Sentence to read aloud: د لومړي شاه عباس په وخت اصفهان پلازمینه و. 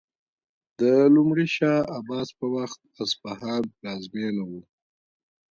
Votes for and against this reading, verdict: 0, 2, rejected